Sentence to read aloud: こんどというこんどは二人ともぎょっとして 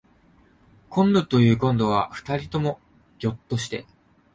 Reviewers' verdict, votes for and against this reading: accepted, 2, 0